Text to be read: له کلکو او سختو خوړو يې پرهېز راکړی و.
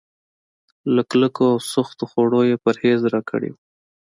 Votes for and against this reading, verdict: 2, 0, accepted